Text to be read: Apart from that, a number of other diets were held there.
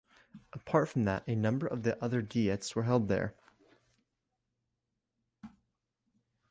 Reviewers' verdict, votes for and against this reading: rejected, 0, 2